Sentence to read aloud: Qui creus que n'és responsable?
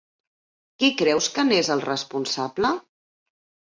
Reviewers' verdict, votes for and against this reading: rejected, 1, 2